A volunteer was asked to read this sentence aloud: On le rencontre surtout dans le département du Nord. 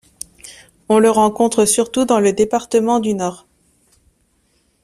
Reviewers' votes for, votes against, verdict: 2, 0, accepted